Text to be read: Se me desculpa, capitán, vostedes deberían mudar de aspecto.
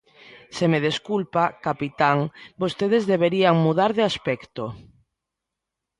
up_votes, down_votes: 2, 0